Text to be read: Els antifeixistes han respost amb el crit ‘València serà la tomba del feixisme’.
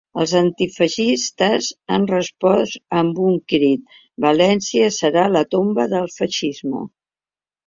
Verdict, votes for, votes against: rejected, 0, 2